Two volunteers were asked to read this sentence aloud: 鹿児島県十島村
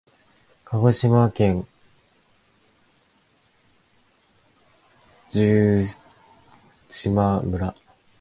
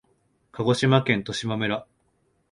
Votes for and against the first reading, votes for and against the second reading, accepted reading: 0, 2, 2, 0, second